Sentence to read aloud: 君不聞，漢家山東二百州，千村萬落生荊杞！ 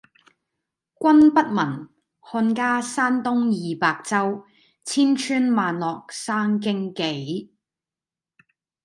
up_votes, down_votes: 0, 2